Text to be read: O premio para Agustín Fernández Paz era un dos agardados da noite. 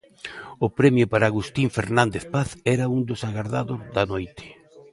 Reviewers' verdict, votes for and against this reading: accepted, 2, 0